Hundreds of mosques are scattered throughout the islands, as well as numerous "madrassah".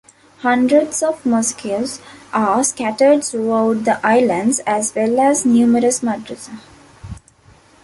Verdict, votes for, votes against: accepted, 2, 0